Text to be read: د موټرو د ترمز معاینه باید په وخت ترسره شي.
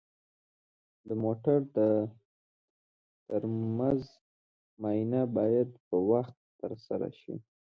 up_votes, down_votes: 0, 2